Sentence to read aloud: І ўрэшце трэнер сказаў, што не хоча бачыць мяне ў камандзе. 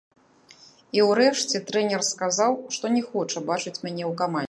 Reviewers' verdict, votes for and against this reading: rejected, 0, 2